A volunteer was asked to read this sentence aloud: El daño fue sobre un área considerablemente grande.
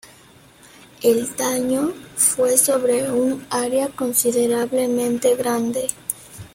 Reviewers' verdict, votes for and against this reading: accepted, 2, 0